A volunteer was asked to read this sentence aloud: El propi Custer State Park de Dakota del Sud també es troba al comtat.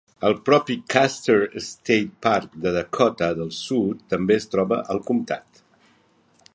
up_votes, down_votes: 2, 0